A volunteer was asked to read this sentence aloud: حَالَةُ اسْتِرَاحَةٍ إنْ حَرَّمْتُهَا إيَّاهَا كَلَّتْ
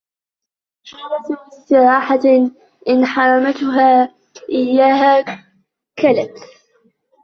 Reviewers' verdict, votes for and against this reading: rejected, 0, 2